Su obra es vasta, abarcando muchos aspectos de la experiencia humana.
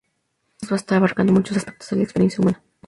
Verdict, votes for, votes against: rejected, 0, 2